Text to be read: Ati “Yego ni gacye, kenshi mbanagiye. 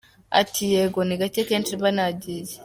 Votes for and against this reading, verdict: 3, 1, accepted